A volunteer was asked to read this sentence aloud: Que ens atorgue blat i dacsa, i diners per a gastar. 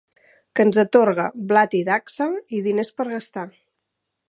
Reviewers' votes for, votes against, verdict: 2, 0, accepted